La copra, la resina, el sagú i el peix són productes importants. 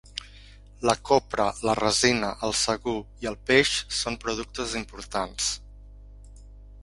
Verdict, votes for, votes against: accepted, 3, 0